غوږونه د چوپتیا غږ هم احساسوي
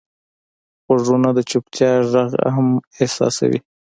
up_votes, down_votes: 2, 0